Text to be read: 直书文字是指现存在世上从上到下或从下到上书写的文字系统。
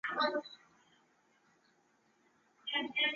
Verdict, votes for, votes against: rejected, 0, 3